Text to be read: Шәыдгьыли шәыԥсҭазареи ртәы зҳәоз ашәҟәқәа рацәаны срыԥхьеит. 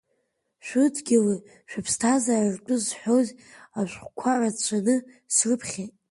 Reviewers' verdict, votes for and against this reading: accepted, 2, 1